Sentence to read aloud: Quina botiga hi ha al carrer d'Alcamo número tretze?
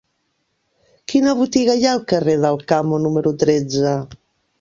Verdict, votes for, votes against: accepted, 2, 0